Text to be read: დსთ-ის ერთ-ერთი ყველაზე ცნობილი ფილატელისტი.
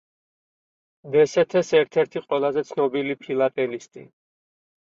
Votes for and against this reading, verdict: 0, 4, rejected